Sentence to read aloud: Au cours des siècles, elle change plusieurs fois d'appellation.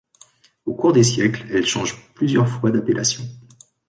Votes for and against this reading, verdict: 2, 1, accepted